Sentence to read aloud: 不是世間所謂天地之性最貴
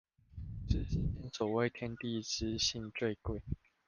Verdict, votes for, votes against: rejected, 0, 2